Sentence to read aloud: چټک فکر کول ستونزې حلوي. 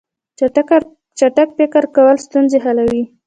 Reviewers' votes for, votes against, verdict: 0, 2, rejected